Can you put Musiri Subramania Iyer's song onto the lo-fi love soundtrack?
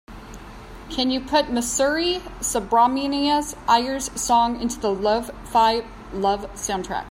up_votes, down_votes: 2, 1